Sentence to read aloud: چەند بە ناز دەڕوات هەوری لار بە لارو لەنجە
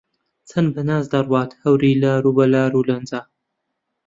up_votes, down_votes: 1, 2